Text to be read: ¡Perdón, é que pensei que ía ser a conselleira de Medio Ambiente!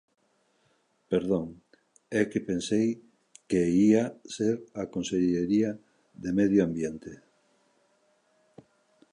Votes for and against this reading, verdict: 1, 2, rejected